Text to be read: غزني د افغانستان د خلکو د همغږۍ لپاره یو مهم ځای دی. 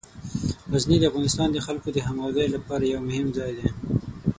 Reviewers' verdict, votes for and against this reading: accepted, 6, 0